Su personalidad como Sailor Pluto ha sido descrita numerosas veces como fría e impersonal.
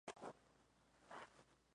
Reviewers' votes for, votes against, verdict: 0, 2, rejected